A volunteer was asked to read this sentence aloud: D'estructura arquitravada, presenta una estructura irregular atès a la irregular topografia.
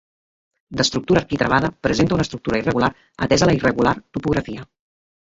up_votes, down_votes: 2, 1